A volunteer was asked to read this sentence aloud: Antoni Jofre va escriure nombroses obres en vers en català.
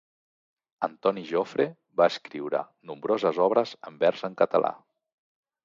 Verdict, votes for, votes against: accepted, 3, 0